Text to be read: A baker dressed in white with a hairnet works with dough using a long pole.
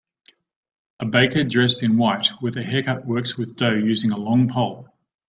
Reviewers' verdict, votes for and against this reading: rejected, 0, 2